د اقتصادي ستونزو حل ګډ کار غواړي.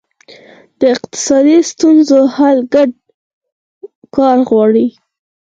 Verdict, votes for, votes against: accepted, 4, 0